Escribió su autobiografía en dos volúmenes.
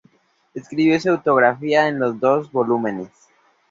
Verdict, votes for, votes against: accepted, 2, 0